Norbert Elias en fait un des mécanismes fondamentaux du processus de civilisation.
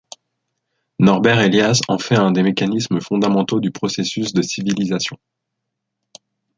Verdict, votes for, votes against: accepted, 2, 0